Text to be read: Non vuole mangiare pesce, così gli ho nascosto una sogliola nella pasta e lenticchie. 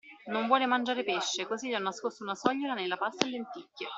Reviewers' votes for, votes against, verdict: 2, 0, accepted